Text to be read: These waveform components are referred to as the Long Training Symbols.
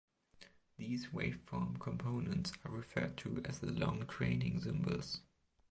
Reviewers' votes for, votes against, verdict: 1, 2, rejected